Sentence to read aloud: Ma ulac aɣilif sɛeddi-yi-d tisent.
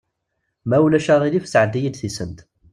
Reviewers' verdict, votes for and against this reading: accepted, 2, 0